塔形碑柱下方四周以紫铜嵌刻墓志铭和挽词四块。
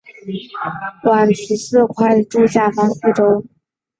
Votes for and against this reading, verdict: 2, 3, rejected